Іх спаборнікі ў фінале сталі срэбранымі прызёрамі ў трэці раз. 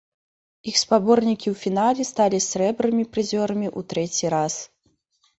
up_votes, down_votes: 1, 2